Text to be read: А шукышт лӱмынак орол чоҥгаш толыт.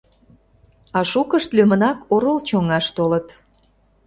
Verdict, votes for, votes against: rejected, 0, 2